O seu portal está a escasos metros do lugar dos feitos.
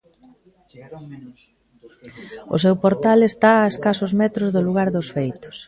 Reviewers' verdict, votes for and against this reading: rejected, 0, 2